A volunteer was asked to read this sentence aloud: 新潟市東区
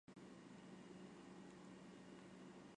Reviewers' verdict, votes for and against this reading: rejected, 1, 2